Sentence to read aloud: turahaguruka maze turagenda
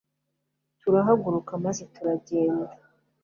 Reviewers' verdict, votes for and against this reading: accepted, 2, 0